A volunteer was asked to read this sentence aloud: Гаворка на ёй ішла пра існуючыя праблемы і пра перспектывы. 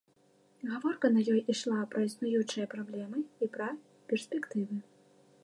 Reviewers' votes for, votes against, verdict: 2, 0, accepted